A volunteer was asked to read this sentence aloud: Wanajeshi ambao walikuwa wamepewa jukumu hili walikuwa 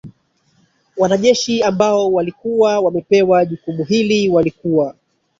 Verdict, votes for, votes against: rejected, 1, 2